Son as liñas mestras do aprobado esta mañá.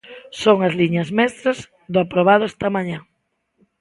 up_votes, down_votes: 2, 0